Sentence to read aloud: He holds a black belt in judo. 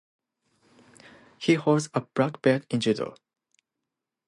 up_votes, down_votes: 2, 0